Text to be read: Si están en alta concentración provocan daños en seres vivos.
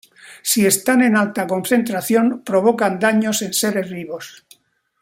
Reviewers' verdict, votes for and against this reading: accepted, 2, 0